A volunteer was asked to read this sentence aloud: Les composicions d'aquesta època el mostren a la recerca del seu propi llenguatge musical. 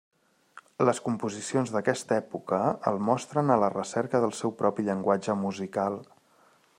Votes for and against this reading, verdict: 3, 0, accepted